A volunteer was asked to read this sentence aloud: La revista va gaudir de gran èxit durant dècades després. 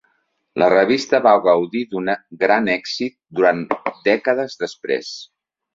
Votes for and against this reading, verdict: 0, 2, rejected